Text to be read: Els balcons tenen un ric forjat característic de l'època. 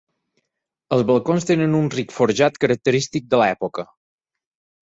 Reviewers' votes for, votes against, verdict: 4, 0, accepted